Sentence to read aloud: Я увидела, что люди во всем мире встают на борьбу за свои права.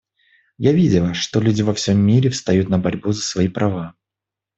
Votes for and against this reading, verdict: 1, 2, rejected